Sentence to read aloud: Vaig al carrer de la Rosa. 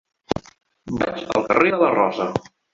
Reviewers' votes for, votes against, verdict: 1, 2, rejected